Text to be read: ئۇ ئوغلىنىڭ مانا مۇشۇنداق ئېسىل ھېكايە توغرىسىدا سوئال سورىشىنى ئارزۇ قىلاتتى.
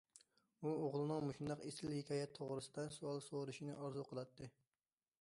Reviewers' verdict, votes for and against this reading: rejected, 1, 2